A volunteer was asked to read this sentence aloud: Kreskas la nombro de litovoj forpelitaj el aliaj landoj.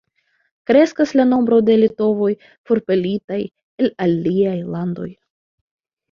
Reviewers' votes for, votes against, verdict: 2, 0, accepted